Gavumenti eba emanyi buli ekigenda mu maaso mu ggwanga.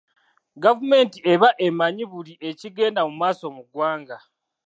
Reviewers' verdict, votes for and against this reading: accepted, 2, 0